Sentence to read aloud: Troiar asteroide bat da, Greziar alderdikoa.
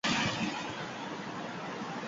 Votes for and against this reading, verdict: 0, 4, rejected